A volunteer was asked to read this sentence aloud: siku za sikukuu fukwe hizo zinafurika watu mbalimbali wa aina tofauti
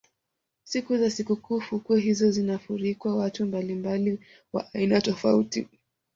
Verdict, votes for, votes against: accepted, 2, 0